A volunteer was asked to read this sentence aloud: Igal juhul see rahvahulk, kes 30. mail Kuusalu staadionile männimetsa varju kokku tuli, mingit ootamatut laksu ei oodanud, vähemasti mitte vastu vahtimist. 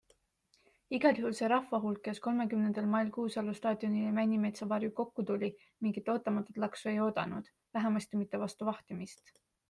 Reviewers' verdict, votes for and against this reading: rejected, 0, 2